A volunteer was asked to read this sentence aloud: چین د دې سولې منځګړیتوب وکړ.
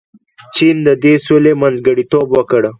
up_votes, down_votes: 2, 0